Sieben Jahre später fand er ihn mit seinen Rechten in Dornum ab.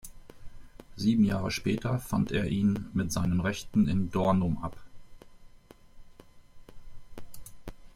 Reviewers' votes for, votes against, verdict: 2, 0, accepted